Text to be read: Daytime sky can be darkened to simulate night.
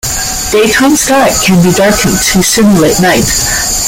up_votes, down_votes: 0, 2